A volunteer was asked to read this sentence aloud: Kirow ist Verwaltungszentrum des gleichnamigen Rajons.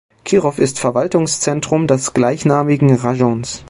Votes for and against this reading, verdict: 1, 2, rejected